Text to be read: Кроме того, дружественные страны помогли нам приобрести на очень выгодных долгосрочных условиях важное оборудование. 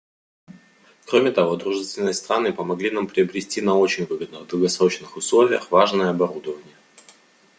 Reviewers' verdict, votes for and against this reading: accepted, 2, 0